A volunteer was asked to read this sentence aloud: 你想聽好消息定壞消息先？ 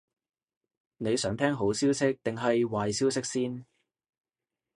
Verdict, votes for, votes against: rejected, 0, 2